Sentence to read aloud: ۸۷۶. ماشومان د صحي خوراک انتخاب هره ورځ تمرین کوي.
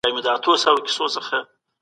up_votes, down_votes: 0, 2